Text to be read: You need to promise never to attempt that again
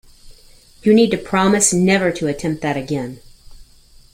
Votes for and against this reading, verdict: 2, 0, accepted